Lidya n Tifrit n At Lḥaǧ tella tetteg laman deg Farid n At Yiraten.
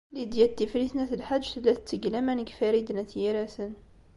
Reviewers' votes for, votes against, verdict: 2, 0, accepted